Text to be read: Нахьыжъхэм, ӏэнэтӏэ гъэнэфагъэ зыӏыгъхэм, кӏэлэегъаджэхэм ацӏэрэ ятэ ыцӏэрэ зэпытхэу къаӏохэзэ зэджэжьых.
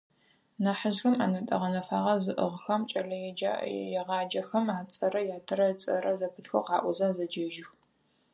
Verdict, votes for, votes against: rejected, 0, 4